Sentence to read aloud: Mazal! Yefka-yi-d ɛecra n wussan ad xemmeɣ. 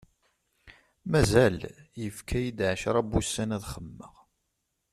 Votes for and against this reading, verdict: 2, 0, accepted